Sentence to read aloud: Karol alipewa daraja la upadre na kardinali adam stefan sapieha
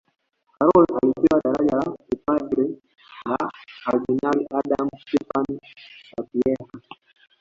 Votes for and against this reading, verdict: 0, 2, rejected